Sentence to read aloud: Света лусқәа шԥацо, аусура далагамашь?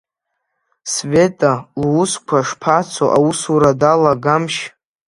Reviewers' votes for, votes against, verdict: 2, 1, accepted